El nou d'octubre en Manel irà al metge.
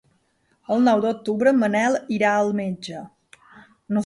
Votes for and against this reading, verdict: 2, 0, accepted